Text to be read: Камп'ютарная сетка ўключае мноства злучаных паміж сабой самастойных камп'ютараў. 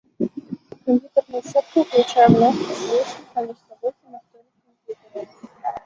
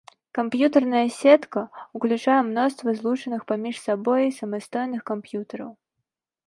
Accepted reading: second